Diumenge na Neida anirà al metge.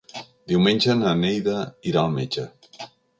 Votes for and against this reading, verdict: 0, 3, rejected